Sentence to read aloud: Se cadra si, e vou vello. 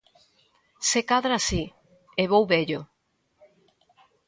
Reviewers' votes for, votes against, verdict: 2, 0, accepted